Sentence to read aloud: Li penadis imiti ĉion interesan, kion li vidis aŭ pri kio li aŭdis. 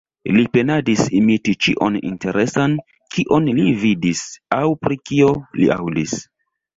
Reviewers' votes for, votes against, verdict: 1, 2, rejected